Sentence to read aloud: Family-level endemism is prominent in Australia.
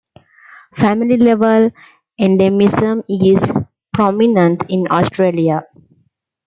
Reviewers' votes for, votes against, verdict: 2, 0, accepted